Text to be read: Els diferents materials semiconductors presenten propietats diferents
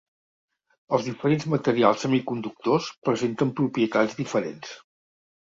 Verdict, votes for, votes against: accepted, 2, 0